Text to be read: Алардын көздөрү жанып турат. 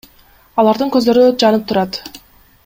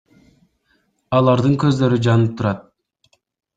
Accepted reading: first